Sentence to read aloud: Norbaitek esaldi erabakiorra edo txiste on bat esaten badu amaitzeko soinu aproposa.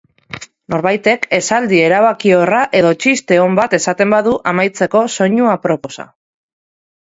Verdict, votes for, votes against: accepted, 2, 0